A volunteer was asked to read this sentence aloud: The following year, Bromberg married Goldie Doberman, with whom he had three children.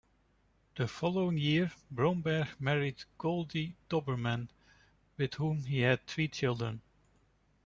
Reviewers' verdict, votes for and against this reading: accepted, 2, 0